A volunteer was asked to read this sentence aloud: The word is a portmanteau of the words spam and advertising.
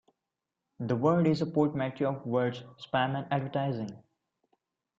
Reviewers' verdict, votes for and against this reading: accepted, 2, 0